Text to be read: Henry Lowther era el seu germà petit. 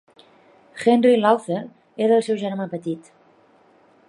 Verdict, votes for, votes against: accepted, 2, 0